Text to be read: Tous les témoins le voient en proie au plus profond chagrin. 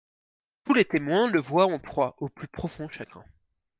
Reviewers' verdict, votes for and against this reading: accepted, 4, 0